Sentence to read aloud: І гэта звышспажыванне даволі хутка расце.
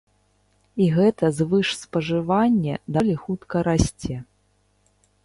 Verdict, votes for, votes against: rejected, 0, 2